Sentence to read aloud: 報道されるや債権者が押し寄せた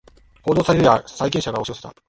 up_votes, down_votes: 2, 1